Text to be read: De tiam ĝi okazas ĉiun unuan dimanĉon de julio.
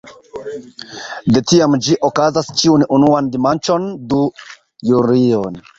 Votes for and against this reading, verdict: 0, 2, rejected